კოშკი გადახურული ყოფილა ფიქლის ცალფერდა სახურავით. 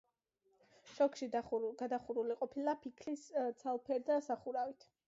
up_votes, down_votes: 1, 2